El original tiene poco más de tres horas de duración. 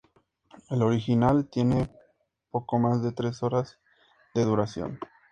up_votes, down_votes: 2, 0